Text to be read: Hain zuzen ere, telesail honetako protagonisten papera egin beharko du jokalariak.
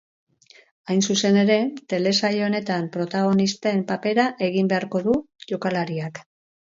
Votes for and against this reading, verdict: 4, 4, rejected